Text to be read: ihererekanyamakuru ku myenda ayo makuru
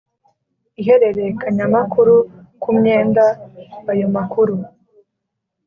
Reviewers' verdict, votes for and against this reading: accepted, 3, 0